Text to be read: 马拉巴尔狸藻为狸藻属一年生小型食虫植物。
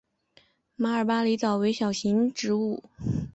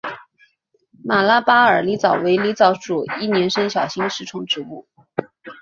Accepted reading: second